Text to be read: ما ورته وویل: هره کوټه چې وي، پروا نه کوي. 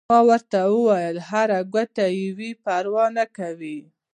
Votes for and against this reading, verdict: 0, 2, rejected